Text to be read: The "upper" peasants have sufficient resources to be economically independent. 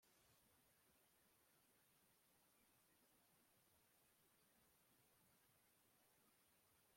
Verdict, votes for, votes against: rejected, 0, 2